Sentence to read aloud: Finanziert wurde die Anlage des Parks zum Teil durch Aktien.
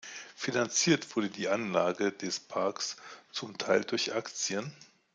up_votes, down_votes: 2, 0